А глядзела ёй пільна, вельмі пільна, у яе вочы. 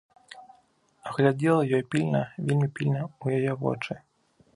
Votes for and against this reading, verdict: 2, 1, accepted